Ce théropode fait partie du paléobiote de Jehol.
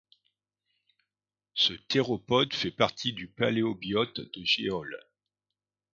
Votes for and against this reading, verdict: 2, 0, accepted